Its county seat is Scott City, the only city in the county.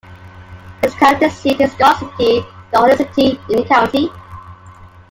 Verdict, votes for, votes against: rejected, 1, 2